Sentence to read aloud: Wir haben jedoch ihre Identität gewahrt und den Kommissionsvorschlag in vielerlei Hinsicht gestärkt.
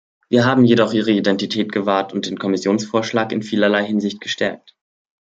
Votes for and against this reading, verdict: 2, 0, accepted